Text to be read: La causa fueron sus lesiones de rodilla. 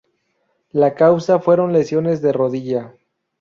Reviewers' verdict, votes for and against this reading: rejected, 0, 2